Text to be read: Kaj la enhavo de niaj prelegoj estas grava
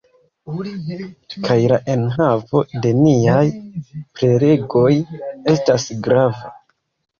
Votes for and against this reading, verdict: 0, 2, rejected